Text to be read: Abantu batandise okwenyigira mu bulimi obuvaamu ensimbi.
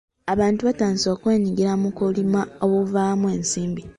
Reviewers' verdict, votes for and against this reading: rejected, 0, 2